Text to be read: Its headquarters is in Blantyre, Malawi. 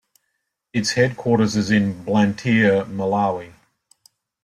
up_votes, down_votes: 2, 1